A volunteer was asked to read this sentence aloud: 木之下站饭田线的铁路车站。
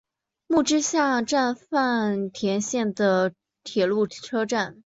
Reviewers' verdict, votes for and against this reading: accepted, 2, 0